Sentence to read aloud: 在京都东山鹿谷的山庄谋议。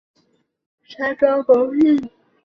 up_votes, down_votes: 1, 3